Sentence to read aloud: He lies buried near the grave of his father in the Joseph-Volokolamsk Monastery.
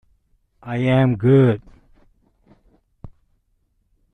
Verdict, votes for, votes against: rejected, 0, 2